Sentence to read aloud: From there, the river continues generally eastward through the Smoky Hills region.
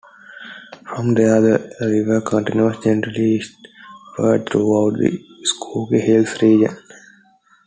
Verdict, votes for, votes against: rejected, 1, 2